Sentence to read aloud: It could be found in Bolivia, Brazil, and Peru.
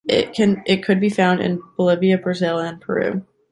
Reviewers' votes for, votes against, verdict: 1, 2, rejected